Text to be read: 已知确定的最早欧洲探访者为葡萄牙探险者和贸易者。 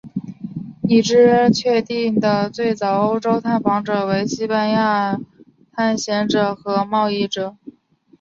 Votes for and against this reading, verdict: 2, 3, rejected